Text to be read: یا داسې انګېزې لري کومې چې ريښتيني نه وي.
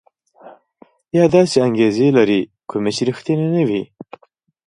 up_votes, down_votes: 2, 1